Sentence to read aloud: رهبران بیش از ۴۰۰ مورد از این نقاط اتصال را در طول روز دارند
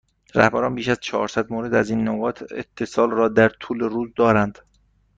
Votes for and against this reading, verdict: 0, 2, rejected